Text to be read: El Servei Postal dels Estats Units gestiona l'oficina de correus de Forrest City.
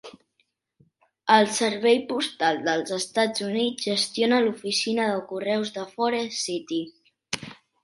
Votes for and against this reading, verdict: 2, 0, accepted